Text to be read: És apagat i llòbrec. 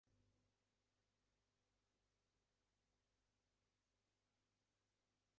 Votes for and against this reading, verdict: 0, 4, rejected